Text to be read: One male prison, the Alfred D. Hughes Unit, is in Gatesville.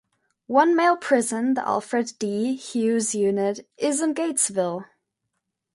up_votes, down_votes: 2, 0